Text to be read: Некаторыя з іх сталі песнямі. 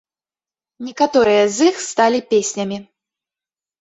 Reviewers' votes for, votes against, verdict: 2, 0, accepted